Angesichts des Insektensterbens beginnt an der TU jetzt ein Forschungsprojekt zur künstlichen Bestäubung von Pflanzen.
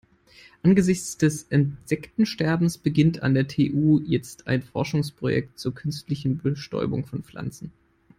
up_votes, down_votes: 1, 2